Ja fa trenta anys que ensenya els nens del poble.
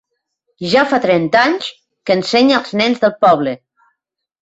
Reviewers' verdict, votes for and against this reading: accepted, 3, 0